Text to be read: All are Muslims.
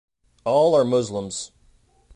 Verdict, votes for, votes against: accepted, 2, 0